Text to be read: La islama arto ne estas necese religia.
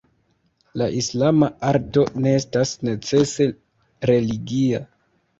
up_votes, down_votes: 2, 0